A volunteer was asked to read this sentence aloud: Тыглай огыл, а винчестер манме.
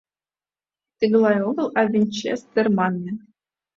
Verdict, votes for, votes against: accepted, 2, 0